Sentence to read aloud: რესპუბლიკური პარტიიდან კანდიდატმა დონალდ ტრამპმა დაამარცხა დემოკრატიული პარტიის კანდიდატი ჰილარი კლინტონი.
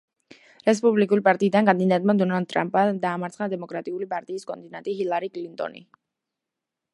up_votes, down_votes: 1, 2